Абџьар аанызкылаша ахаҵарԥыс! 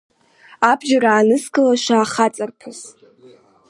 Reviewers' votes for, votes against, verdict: 2, 0, accepted